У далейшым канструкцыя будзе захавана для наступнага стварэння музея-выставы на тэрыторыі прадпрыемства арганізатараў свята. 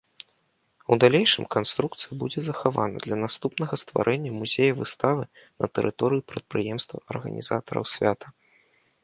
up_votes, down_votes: 2, 0